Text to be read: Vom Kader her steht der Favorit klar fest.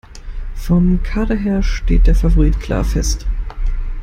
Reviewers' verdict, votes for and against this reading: accepted, 2, 0